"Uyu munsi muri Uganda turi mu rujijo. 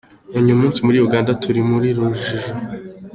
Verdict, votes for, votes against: accepted, 2, 0